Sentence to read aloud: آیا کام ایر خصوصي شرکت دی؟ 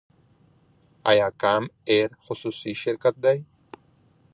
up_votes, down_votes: 1, 2